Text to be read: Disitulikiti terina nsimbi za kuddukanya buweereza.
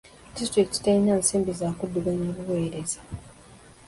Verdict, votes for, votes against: rejected, 1, 2